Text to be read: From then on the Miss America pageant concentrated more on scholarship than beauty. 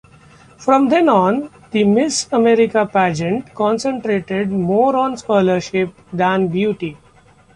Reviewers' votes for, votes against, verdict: 3, 2, accepted